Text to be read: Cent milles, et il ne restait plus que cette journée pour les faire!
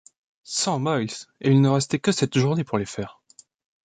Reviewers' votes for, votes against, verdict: 1, 2, rejected